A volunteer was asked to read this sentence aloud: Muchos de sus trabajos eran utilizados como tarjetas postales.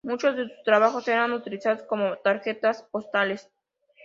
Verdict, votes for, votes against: accepted, 2, 0